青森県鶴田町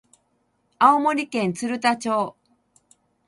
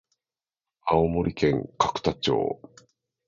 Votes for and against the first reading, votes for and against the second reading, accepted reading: 4, 0, 0, 2, first